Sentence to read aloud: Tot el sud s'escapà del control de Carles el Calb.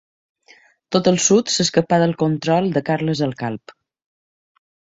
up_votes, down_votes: 2, 0